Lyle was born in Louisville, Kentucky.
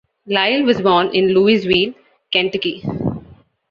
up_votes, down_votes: 2, 1